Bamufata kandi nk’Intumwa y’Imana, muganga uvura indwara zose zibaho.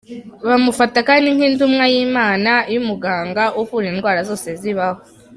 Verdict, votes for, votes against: rejected, 0, 2